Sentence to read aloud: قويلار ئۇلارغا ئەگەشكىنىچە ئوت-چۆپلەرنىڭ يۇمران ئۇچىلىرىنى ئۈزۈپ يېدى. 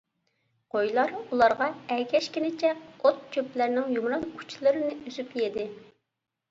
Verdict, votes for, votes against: accepted, 3, 0